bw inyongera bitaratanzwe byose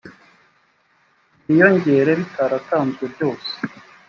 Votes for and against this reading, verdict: 1, 2, rejected